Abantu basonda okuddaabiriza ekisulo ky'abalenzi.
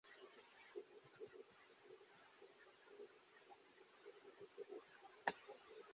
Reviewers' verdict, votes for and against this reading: rejected, 0, 2